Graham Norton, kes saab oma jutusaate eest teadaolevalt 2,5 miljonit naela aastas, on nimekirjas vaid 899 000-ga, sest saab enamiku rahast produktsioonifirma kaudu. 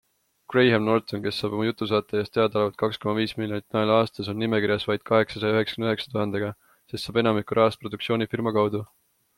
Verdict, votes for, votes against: rejected, 0, 2